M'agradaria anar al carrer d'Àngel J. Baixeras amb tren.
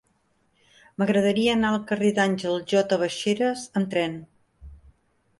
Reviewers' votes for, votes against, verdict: 2, 0, accepted